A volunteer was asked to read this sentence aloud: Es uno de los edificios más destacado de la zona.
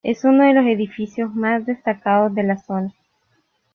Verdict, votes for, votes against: rejected, 0, 2